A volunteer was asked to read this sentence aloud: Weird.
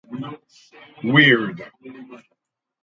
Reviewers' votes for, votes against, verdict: 4, 2, accepted